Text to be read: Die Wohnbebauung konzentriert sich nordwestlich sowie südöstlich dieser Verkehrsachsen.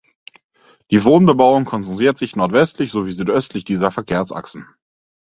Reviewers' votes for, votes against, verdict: 2, 4, rejected